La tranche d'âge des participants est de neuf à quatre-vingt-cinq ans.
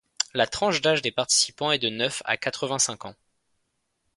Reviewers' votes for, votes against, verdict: 2, 0, accepted